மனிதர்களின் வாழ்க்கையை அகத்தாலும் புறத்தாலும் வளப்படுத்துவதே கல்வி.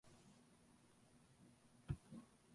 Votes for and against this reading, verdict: 0, 2, rejected